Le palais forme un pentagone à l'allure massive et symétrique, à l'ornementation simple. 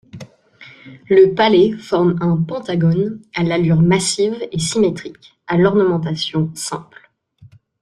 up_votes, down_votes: 2, 1